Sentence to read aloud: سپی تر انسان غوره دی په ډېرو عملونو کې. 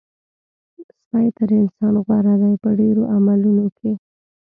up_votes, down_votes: 1, 3